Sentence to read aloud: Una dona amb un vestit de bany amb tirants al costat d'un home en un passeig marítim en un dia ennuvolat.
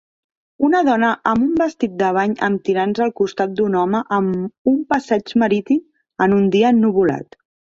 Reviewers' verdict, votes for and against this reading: rejected, 0, 2